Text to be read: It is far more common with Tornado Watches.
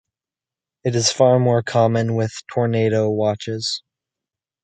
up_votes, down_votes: 2, 0